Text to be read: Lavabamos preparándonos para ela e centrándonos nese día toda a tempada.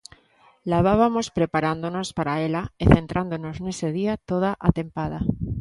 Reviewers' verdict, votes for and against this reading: rejected, 0, 2